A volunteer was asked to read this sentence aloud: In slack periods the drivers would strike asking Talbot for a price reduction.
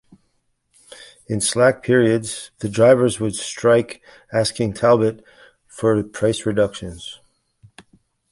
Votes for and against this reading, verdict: 2, 1, accepted